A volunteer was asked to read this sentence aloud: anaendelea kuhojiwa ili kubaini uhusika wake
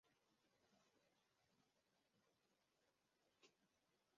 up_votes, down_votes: 0, 2